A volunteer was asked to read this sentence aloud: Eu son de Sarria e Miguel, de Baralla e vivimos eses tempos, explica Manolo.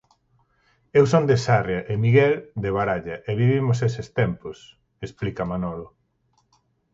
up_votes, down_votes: 4, 0